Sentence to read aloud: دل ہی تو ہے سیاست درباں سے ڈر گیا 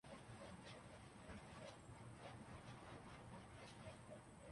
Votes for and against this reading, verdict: 1, 2, rejected